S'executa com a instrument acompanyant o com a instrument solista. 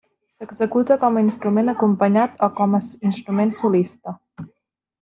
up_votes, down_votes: 1, 2